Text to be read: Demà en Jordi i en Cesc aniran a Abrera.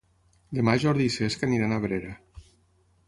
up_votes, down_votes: 0, 6